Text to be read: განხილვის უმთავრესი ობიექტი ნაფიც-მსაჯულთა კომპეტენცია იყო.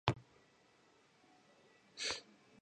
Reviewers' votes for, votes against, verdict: 0, 3, rejected